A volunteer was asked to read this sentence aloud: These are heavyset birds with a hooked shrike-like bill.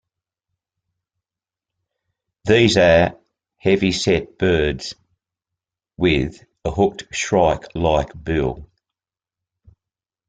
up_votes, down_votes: 2, 0